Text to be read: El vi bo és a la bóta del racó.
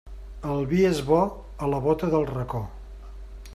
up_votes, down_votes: 0, 2